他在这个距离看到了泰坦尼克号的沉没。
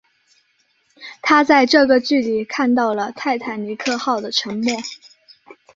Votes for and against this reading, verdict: 4, 0, accepted